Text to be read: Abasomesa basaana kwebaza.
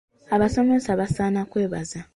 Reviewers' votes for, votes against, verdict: 2, 0, accepted